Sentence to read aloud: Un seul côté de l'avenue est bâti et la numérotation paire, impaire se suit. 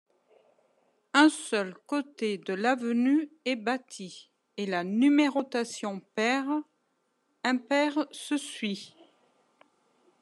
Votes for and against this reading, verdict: 2, 1, accepted